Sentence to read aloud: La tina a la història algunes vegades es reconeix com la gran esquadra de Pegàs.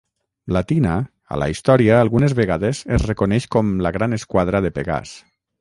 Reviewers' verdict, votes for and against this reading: accepted, 6, 0